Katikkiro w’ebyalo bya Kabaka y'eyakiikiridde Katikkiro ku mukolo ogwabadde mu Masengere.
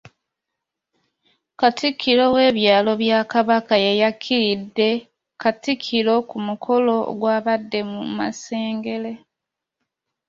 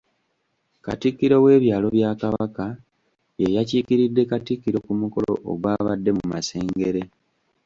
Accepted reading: second